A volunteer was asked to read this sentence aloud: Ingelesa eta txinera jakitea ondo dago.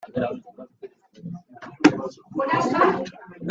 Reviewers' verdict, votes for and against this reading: rejected, 0, 2